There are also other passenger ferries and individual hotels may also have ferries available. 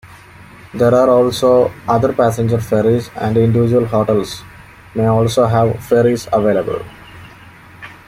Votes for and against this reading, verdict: 3, 0, accepted